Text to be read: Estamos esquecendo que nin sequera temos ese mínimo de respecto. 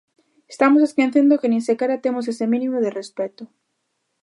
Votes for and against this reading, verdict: 1, 2, rejected